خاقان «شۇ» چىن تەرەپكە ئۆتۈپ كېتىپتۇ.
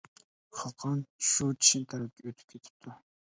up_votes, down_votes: 1, 2